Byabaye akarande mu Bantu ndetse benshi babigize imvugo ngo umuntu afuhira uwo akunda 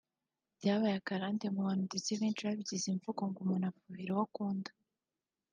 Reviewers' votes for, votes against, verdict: 2, 0, accepted